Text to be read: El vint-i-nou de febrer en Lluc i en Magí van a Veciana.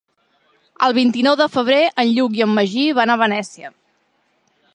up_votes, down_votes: 0, 2